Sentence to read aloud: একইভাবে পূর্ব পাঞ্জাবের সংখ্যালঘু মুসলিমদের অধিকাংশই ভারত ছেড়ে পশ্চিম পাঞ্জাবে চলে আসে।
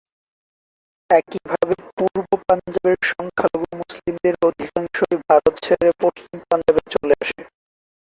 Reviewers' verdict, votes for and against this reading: rejected, 0, 2